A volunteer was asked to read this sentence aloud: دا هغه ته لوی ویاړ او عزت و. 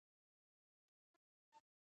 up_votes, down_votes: 0, 2